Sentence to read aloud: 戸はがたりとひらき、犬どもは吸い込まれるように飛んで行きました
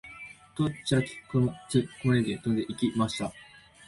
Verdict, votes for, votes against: rejected, 0, 2